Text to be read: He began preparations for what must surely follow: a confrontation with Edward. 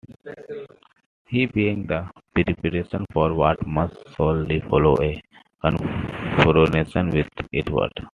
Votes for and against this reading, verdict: 1, 2, rejected